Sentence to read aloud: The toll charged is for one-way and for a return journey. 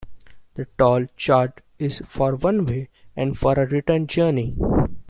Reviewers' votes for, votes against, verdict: 0, 2, rejected